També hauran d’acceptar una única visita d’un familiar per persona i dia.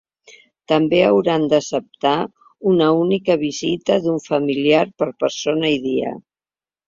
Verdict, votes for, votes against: accepted, 3, 1